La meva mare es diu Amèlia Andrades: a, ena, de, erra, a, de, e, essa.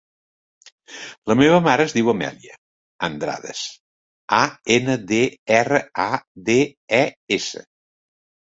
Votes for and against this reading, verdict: 2, 0, accepted